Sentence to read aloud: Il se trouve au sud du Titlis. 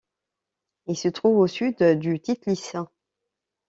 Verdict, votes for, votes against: accepted, 2, 0